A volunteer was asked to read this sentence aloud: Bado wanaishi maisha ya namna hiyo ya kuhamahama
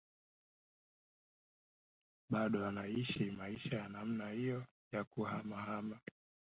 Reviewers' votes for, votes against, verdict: 0, 2, rejected